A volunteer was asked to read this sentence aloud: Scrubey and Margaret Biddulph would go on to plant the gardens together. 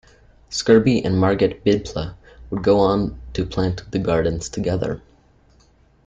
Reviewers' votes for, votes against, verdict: 2, 0, accepted